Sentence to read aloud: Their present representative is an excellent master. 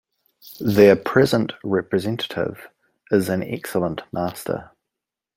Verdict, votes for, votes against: accepted, 2, 0